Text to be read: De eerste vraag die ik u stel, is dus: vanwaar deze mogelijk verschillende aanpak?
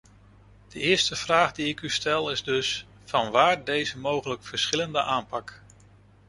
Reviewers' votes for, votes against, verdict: 2, 0, accepted